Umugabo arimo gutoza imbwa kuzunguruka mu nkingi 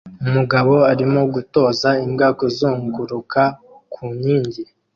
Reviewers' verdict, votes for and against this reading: rejected, 1, 2